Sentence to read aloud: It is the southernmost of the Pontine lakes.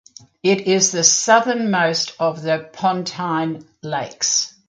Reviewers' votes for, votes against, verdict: 2, 0, accepted